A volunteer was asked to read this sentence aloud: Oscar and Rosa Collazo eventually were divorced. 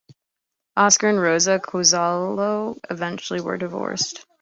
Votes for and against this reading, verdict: 1, 2, rejected